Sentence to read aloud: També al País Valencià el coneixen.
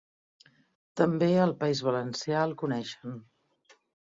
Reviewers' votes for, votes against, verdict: 2, 0, accepted